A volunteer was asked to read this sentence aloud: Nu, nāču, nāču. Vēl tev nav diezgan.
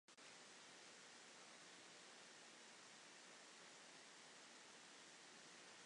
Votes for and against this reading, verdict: 0, 2, rejected